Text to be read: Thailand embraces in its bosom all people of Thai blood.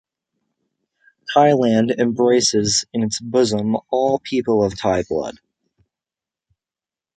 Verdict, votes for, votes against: accepted, 3, 0